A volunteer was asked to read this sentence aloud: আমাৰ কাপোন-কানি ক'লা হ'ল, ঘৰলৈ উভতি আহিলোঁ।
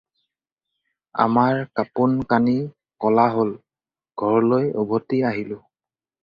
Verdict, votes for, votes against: accepted, 4, 0